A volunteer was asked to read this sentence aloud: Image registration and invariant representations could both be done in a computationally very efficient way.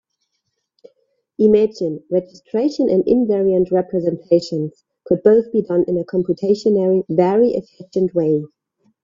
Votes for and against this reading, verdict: 0, 2, rejected